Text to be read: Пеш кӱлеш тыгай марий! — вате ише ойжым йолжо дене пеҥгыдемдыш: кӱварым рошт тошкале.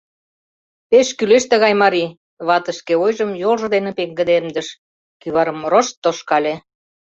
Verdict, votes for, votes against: rejected, 1, 2